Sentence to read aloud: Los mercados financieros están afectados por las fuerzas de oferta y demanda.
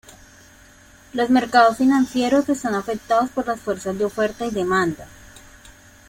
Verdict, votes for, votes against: accepted, 2, 0